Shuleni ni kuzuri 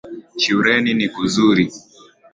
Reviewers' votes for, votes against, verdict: 2, 0, accepted